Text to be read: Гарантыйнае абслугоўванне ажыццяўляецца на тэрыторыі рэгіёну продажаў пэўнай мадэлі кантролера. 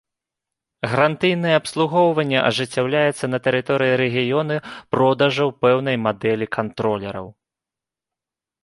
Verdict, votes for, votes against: rejected, 0, 2